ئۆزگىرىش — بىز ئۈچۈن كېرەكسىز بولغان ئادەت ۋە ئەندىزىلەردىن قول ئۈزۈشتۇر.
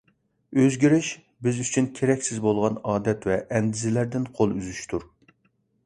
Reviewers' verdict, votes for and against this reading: accepted, 2, 0